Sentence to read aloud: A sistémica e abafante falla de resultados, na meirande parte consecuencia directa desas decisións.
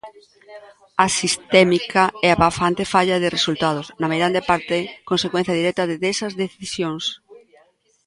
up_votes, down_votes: 0, 2